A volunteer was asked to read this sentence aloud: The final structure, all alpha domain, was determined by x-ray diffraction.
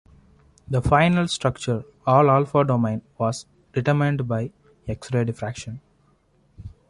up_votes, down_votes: 2, 0